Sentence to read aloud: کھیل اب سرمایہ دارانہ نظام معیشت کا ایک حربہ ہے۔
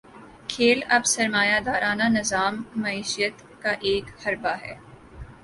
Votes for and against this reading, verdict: 8, 0, accepted